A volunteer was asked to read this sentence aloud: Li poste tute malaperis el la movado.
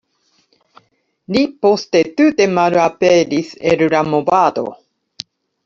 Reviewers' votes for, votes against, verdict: 2, 0, accepted